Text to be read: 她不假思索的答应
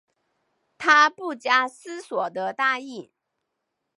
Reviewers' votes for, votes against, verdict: 7, 0, accepted